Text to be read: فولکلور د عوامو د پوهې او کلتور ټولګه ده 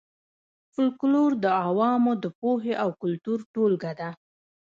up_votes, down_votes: 1, 3